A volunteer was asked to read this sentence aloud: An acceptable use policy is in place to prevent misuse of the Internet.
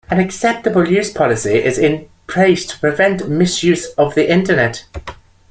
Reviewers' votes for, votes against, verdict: 2, 1, accepted